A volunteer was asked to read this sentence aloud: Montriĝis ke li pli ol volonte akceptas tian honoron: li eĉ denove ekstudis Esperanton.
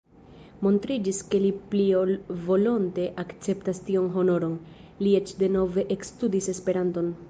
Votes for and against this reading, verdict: 0, 2, rejected